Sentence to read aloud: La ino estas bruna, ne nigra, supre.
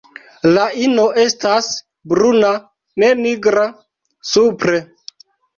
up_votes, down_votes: 0, 2